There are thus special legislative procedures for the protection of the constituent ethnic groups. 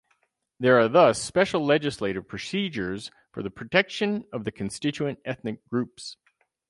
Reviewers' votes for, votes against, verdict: 4, 0, accepted